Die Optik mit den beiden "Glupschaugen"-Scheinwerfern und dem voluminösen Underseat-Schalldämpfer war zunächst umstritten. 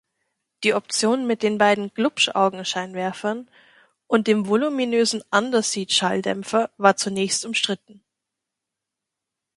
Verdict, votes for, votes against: rejected, 1, 2